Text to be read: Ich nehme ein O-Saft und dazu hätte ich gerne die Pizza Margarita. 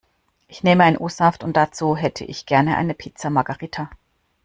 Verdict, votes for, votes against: rejected, 1, 2